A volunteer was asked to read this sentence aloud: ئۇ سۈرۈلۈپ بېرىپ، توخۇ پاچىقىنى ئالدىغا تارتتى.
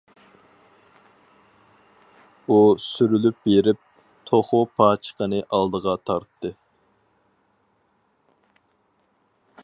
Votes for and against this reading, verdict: 4, 0, accepted